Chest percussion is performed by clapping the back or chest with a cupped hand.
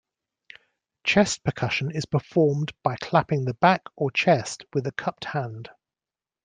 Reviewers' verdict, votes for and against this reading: accepted, 2, 0